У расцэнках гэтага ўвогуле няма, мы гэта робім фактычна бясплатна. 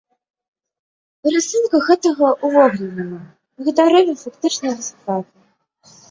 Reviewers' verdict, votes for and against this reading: rejected, 0, 2